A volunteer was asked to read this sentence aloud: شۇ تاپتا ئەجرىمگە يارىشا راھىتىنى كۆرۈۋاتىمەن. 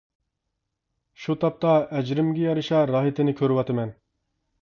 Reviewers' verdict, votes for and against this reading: accepted, 2, 0